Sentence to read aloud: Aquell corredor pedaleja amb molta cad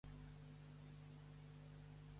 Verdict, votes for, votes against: rejected, 0, 2